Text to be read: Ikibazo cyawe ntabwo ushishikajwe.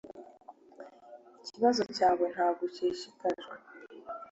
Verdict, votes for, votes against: accepted, 2, 0